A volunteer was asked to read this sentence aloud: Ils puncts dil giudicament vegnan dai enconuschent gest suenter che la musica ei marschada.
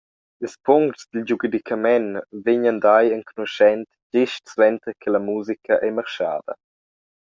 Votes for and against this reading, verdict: 0, 2, rejected